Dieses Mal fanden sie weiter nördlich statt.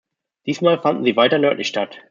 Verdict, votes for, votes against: rejected, 0, 2